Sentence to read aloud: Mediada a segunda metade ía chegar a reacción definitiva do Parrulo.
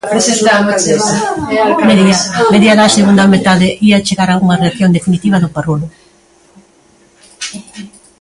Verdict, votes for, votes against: rejected, 0, 2